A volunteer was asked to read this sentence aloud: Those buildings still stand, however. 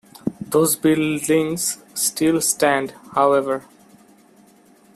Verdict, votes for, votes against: rejected, 0, 2